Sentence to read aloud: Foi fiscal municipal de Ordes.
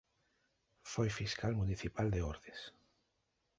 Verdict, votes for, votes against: accepted, 2, 0